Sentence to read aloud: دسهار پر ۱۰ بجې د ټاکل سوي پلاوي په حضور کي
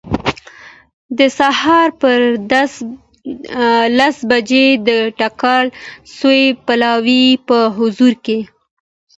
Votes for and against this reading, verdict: 0, 2, rejected